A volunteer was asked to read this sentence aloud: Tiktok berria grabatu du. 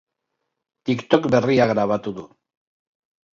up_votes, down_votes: 2, 0